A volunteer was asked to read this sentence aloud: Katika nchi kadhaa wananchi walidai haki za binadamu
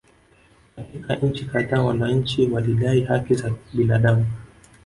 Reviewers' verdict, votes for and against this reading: rejected, 1, 2